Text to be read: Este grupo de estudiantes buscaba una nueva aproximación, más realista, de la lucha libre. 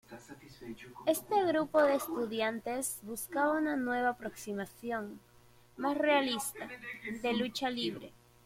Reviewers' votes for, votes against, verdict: 1, 2, rejected